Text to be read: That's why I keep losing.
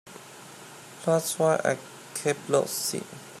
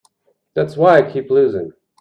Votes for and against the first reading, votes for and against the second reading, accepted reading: 0, 2, 2, 0, second